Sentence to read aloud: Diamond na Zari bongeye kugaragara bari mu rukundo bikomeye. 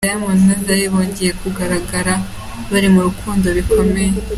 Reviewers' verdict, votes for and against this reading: accepted, 2, 1